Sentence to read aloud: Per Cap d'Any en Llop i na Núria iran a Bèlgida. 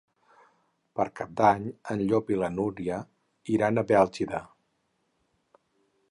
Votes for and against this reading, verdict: 0, 4, rejected